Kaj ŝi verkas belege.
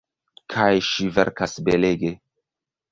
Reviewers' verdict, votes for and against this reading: rejected, 0, 2